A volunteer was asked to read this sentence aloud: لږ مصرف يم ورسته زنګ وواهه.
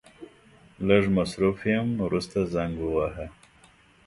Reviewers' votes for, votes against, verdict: 2, 0, accepted